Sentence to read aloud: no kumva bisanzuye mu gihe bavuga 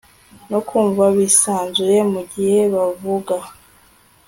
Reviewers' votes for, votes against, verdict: 2, 0, accepted